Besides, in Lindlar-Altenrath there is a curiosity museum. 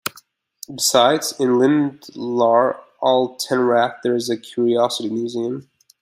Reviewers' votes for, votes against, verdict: 1, 2, rejected